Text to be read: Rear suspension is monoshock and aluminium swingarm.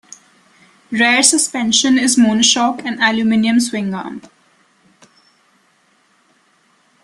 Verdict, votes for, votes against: rejected, 1, 2